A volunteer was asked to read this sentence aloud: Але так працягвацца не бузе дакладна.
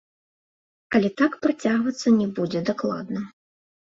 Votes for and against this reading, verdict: 2, 0, accepted